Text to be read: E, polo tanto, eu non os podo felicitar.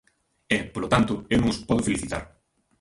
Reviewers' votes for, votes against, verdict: 1, 2, rejected